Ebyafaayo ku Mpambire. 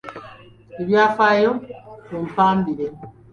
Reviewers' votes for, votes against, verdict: 2, 0, accepted